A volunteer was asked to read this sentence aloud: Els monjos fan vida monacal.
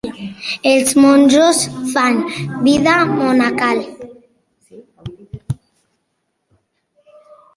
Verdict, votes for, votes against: accepted, 3, 1